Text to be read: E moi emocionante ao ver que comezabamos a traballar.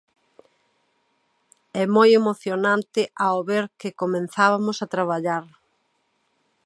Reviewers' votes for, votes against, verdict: 0, 2, rejected